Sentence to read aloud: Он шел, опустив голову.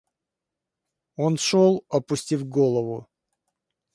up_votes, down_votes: 2, 0